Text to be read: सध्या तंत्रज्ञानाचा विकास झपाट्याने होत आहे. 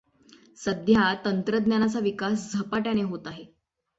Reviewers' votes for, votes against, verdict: 6, 0, accepted